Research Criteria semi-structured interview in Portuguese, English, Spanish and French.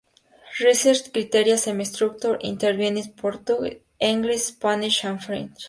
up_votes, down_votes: 0, 2